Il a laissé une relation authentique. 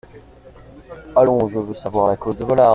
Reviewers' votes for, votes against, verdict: 0, 2, rejected